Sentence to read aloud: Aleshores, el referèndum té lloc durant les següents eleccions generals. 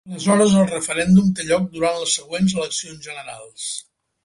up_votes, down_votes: 0, 3